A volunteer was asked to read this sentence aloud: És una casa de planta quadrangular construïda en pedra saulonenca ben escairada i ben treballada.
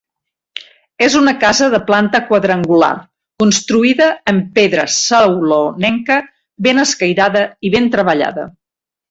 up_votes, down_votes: 2, 0